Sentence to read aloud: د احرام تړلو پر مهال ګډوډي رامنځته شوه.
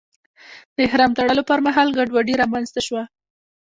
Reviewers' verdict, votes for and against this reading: rejected, 0, 2